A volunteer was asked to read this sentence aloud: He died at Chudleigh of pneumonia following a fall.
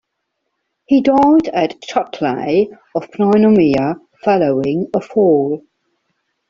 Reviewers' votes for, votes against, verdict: 1, 2, rejected